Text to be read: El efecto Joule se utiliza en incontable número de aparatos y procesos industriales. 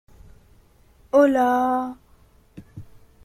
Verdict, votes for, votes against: rejected, 0, 2